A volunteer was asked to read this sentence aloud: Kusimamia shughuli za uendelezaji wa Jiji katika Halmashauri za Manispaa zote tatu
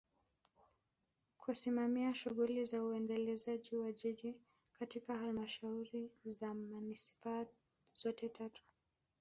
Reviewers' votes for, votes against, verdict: 2, 0, accepted